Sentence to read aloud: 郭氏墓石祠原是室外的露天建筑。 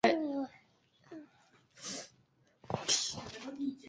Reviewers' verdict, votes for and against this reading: rejected, 0, 3